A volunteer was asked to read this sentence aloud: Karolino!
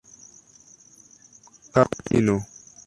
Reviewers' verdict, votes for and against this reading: rejected, 0, 2